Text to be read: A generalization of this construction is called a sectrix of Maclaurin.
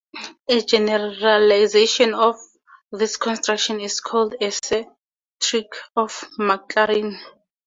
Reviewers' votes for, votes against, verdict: 2, 2, rejected